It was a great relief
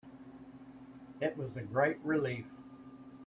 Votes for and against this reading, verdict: 1, 2, rejected